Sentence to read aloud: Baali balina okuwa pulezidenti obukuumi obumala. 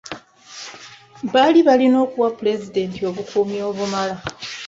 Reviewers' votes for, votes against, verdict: 2, 1, accepted